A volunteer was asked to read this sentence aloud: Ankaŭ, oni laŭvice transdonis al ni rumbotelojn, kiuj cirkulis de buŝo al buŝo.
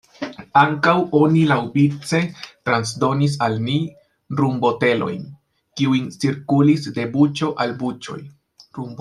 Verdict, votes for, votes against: rejected, 0, 2